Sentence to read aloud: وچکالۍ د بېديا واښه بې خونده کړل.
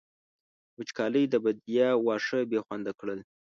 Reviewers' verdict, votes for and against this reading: accepted, 3, 0